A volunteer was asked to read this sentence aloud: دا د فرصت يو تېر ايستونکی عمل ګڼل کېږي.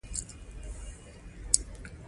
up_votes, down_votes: 0, 2